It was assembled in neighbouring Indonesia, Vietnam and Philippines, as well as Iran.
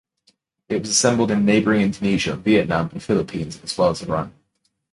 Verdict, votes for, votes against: accepted, 2, 1